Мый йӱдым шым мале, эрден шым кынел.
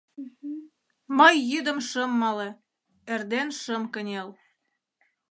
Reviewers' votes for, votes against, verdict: 2, 0, accepted